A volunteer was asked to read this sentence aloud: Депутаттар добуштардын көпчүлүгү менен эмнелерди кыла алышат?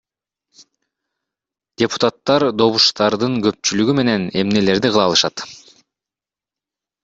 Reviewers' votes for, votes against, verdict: 2, 0, accepted